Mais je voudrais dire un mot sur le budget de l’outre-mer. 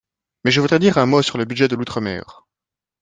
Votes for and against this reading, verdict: 0, 2, rejected